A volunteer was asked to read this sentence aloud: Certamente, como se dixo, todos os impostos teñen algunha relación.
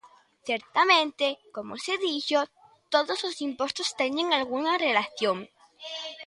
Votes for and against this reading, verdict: 2, 0, accepted